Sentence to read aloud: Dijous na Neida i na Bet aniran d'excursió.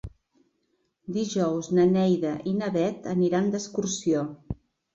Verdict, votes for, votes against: accepted, 3, 0